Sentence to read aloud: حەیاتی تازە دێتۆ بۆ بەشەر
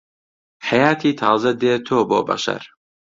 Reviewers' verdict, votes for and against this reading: accepted, 2, 0